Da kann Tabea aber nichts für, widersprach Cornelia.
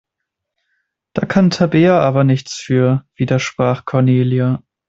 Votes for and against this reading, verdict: 2, 0, accepted